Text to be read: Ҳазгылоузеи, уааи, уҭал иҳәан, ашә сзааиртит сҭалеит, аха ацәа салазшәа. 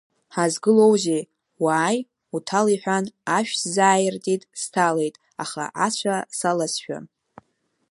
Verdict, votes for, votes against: accepted, 2, 1